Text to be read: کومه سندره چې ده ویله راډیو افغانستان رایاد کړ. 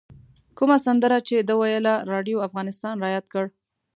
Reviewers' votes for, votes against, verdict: 2, 0, accepted